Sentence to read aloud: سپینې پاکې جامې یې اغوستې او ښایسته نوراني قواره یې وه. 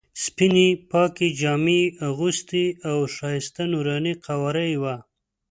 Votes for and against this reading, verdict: 2, 0, accepted